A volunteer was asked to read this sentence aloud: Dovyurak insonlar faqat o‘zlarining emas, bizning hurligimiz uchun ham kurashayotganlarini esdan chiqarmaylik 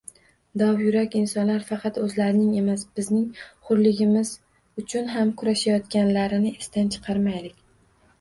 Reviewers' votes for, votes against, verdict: 1, 2, rejected